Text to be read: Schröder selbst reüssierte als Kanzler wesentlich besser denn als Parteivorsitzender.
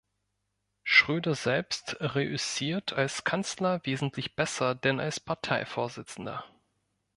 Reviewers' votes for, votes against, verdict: 0, 2, rejected